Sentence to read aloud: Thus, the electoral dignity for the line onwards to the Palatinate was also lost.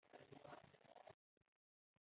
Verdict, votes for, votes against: rejected, 1, 2